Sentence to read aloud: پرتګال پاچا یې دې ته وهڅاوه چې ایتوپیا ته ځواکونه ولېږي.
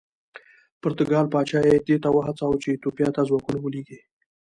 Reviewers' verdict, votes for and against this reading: accepted, 2, 1